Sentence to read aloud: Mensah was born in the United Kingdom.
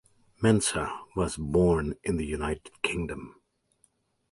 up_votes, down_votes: 2, 0